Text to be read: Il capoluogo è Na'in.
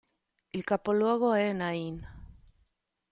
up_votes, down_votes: 2, 0